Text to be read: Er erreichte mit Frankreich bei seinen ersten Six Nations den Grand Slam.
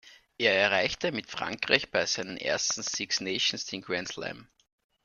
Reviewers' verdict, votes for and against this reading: accepted, 2, 0